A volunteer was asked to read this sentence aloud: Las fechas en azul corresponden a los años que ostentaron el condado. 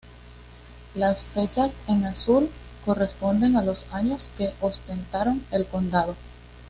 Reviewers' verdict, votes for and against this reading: accepted, 2, 0